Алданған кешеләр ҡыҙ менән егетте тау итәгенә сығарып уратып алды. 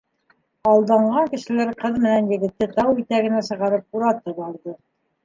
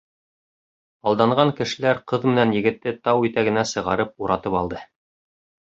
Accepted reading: second